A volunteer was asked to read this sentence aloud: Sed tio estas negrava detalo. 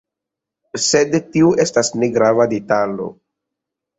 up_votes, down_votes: 2, 1